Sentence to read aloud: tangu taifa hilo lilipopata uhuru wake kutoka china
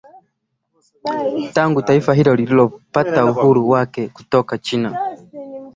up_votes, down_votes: 2, 0